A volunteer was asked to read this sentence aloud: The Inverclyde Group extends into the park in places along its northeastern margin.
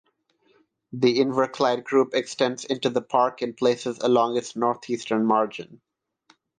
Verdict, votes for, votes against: accepted, 6, 0